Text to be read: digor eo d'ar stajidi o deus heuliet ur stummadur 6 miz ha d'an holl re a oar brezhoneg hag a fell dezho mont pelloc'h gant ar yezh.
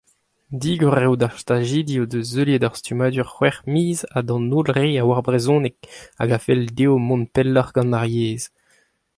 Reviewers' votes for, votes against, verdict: 0, 2, rejected